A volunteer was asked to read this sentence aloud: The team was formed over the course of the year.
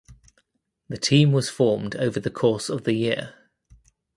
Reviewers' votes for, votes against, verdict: 2, 0, accepted